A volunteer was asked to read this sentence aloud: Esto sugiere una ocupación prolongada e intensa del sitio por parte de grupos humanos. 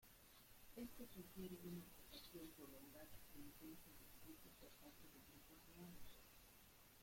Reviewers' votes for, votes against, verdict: 0, 2, rejected